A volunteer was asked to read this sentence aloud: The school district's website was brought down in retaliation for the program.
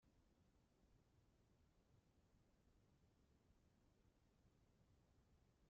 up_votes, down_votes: 0, 3